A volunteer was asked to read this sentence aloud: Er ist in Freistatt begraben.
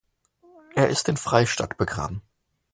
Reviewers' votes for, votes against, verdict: 2, 0, accepted